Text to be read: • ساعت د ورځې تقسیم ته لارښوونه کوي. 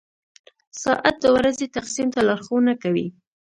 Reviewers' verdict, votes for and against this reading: accepted, 2, 0